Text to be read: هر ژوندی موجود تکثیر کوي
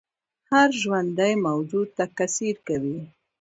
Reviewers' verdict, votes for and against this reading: rejected, 0, 2